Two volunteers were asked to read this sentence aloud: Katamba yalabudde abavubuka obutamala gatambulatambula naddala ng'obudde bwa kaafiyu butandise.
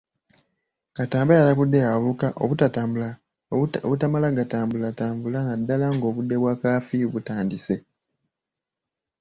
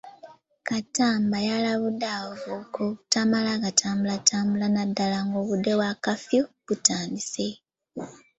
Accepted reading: first